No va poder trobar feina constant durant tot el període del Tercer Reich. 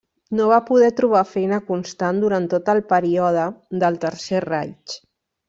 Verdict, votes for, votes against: rejected, 0, 2